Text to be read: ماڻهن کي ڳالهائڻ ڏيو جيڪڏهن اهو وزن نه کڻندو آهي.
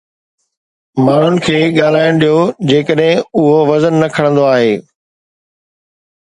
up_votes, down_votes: 2, 0